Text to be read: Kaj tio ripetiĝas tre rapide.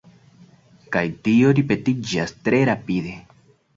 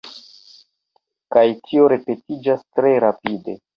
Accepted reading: first